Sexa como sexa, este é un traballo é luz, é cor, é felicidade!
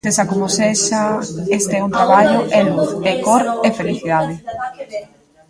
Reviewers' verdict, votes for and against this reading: rejected, 1, 2